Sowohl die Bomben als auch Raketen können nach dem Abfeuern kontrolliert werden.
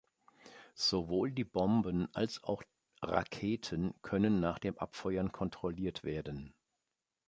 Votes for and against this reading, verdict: 2, 0, accepted